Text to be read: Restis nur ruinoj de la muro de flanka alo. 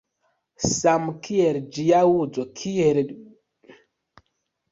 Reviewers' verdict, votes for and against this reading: rejected, 1, 2